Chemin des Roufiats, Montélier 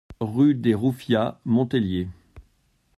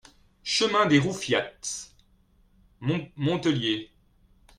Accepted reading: second